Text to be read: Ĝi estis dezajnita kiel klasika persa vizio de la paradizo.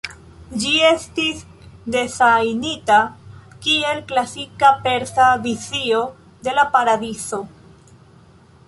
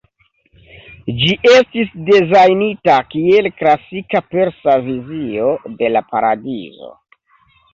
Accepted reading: second